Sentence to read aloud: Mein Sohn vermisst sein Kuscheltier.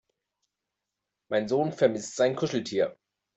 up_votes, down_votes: 2, 0